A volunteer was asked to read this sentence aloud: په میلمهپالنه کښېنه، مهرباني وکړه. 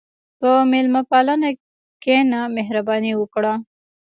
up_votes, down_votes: 1, 2